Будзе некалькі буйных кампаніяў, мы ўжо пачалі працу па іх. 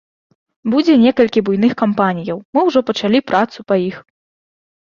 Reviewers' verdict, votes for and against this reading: accepted, 2, 0